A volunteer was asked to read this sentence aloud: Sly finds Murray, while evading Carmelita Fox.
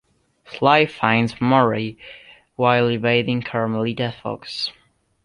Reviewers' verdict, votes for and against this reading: accepted, 2, 0